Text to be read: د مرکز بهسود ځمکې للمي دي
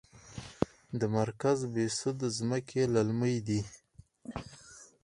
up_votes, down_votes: 2, 4